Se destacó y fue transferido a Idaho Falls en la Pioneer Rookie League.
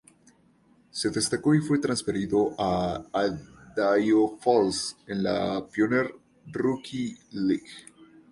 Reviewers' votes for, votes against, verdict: 2, 0, accepted